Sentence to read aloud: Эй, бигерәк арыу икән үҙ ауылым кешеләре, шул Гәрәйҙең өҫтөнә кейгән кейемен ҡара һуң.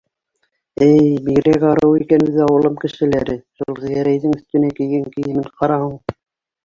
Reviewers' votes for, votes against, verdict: 1, 2, rejected